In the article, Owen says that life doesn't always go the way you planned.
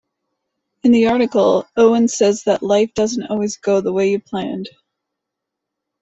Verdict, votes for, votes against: accepted, 2, 0